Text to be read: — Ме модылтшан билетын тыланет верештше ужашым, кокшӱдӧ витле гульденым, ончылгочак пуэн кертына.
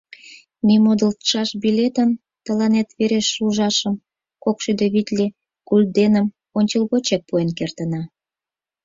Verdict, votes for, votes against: rejected, 0, 4